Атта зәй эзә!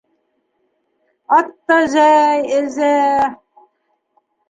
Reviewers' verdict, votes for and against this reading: rejected, 1, 2